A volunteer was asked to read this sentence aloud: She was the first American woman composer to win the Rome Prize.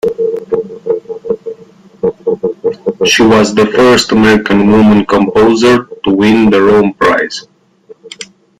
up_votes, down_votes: 2, 1